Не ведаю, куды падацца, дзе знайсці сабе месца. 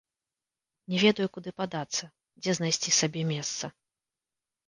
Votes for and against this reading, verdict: 2, 3, rejected